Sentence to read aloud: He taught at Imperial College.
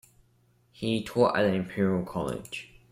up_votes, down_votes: 1, 2